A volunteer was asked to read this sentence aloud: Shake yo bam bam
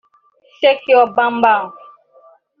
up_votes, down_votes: 0, 3